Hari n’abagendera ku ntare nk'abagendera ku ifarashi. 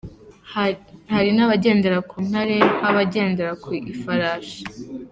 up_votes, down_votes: 2, 1